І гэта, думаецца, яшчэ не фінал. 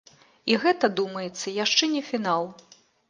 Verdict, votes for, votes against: accepted, 2, 1